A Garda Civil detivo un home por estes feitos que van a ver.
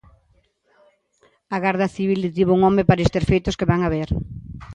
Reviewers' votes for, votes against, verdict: 2, 0, accepted